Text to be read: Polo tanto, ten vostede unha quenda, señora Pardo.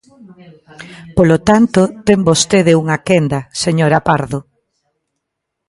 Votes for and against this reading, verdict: 1, 2, rejected